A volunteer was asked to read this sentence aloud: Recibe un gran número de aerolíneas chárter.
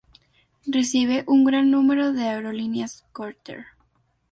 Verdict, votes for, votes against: rejected, 0, 2